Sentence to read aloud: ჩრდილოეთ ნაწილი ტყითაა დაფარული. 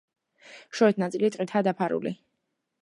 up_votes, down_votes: 0, 2